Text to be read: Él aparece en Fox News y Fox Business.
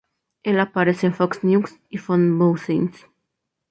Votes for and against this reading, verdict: 2, 4, rejected